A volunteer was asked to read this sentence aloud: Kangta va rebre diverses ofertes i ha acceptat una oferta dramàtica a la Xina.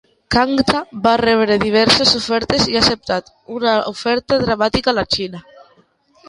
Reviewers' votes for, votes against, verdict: 2, 0, accepted